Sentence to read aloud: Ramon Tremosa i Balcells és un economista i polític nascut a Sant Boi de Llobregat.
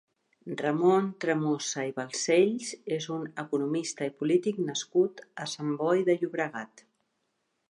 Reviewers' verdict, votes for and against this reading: accepted, 4, 0